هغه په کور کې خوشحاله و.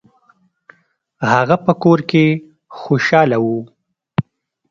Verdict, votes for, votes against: accepted, 2, 0